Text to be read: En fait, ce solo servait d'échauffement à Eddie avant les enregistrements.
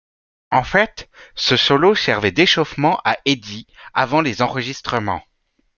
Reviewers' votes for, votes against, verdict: 0, 2, rejected